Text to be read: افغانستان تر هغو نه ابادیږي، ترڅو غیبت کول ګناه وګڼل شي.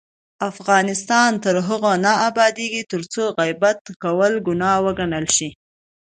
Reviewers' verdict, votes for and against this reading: accepted, 2, 0